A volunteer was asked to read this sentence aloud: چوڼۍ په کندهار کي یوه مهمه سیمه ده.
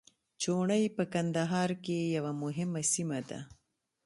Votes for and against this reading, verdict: 2, 0, accepted